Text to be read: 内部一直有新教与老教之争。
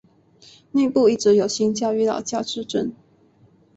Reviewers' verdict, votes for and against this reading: accepted, 8, 0